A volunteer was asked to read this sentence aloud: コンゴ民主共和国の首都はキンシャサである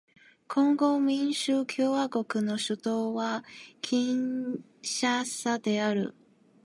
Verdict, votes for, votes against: rejected, 1, 2